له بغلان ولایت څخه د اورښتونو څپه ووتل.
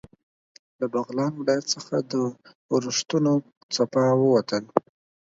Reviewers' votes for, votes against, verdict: 4, 2, accepted